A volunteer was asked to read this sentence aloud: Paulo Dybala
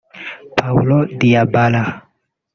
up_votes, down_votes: 0, 2